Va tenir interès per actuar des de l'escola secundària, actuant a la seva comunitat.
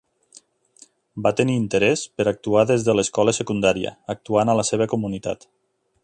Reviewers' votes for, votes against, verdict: 2, 0, accepted